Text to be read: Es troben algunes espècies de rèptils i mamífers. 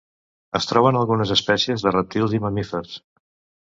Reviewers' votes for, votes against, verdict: 1, 2, rejected